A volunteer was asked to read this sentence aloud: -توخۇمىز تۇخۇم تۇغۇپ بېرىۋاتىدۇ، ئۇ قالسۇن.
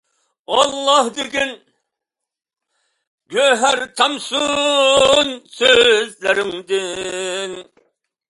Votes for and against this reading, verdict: 0, 2, rejected